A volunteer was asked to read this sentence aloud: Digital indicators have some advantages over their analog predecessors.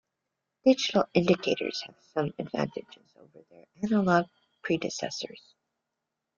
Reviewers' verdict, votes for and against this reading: rejected, 0, 2